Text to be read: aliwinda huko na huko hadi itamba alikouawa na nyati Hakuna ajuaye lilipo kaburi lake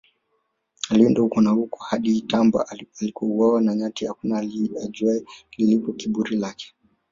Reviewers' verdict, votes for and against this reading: rejected, 1, 2